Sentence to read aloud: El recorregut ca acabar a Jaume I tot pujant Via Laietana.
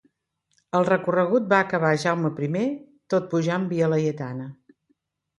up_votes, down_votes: 0, 2